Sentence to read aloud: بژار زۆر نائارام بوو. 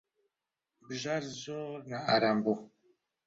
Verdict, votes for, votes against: accepted, 2, 1